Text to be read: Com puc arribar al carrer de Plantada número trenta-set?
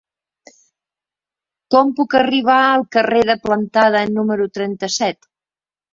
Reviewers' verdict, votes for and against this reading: accepted, 3, 0